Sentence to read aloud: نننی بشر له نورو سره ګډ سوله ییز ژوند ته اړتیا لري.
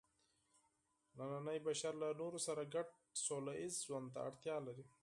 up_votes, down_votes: 4, 0